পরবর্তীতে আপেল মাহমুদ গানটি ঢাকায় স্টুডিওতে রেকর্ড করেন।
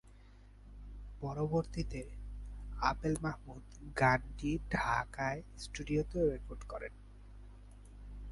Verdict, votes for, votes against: rejected, 5, 5